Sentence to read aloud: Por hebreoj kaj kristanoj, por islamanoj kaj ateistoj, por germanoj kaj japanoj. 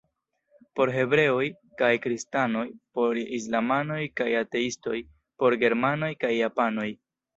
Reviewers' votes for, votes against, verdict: 1, 2, rejected